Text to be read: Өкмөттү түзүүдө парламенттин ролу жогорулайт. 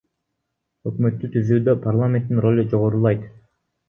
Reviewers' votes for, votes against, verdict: 1, 2, rejected